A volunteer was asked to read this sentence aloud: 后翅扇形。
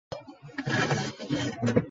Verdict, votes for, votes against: rejected, 1, 8